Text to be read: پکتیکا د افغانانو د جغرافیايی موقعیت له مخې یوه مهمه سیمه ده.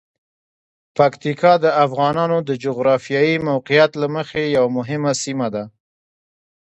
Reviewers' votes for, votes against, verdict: 2, 1, accepted